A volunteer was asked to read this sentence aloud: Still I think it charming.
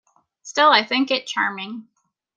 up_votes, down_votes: 2, 0